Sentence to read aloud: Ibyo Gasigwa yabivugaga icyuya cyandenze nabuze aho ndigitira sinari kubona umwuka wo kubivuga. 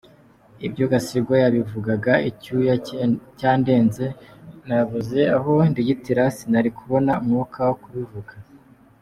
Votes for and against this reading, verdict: 2, 0, accepted